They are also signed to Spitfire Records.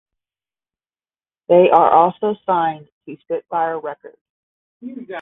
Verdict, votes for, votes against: accepted, 5, 0